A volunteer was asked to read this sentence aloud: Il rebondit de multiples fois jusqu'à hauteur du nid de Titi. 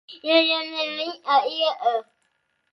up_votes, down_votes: 0, 2